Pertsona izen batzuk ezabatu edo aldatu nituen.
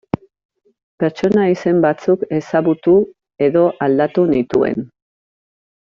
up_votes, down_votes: 0, 2